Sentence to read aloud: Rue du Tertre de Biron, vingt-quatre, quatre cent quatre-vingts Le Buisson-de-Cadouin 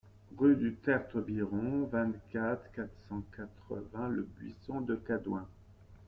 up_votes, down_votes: 0, 2